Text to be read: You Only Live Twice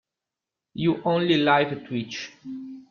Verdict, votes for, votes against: rejected, 0, 2